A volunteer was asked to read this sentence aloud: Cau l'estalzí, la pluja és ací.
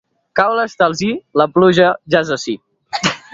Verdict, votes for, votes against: rejected, 0, 2